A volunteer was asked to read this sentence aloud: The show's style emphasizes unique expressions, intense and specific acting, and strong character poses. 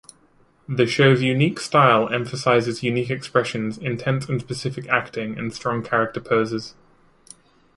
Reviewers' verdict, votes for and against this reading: rejected, 0, 2